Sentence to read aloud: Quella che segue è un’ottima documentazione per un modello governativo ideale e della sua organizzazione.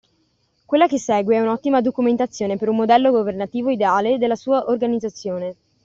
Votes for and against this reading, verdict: 2, 0, accepted